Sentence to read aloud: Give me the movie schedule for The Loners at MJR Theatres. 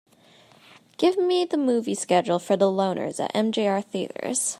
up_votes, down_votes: 3, 0